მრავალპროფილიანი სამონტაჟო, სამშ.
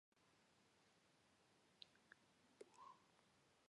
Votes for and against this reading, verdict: 0, 2, rejected